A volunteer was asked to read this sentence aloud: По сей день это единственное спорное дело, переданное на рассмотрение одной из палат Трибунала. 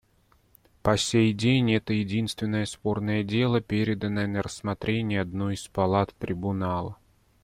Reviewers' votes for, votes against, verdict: 2, 0, accepted